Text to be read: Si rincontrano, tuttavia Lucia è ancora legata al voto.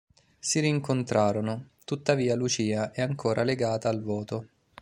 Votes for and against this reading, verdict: 2, 0, accepted